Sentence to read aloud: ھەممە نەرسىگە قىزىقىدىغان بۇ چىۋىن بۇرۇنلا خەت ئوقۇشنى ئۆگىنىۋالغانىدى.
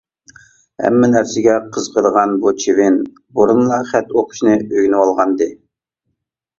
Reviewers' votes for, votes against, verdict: 2, 0, accepted